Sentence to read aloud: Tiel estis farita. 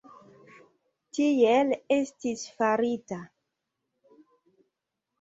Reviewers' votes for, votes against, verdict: 2, 0, accepted